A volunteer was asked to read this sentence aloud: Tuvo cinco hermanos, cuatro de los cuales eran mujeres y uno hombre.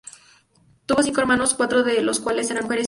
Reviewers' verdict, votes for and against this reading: rejected, 0, 2